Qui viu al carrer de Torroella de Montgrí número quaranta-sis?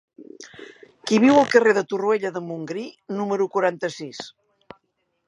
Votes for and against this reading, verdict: 1, 2, rejected